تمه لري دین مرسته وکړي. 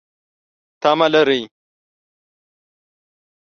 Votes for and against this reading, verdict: 1, 2, rejected